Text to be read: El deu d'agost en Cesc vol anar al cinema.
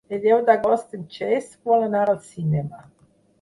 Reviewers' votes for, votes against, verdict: 6, 0, accepted